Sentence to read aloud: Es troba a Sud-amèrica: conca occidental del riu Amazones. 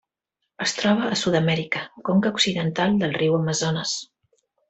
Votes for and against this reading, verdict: 3, 0, accepted